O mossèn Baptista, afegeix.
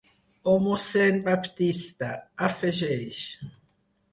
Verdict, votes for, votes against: accepted, 4, 0